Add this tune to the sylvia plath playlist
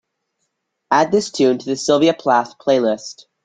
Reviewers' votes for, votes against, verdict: 2, 0, accepted